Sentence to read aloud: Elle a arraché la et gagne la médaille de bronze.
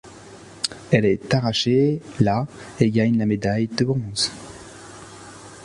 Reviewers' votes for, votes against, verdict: 1, 2, rejected